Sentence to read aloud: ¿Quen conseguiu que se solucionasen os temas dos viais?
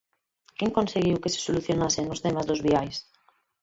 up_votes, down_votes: 4, 6